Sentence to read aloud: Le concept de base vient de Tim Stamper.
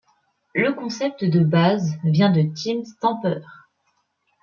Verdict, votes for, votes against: accepted, 2, 0